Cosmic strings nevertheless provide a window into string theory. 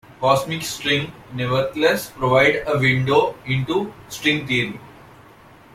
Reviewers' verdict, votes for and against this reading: rejected, 1, 2